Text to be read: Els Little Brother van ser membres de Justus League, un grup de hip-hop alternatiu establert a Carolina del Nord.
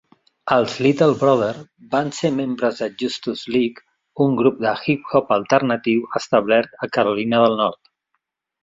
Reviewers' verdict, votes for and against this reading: accepted, 2, 0